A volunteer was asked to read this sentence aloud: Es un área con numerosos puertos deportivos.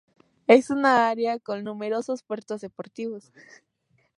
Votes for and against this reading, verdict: 2, 0, accepted